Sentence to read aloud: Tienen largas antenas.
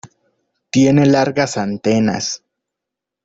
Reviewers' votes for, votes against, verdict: 1, 2, rejected